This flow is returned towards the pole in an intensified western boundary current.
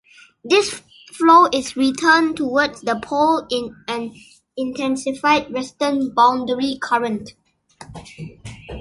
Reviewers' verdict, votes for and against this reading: accepted, 2, 0